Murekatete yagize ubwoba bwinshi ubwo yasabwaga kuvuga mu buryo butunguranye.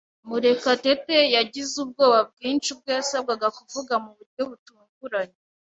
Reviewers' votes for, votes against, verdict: 2, 0, accepted